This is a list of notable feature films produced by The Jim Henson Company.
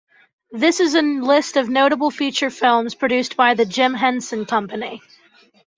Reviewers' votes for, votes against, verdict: 2, 0, accepted